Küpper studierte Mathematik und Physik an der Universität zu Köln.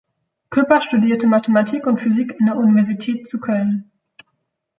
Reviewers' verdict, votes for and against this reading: accepted, 2, 0